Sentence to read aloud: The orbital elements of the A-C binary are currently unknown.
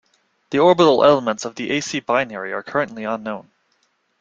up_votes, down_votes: 2, 0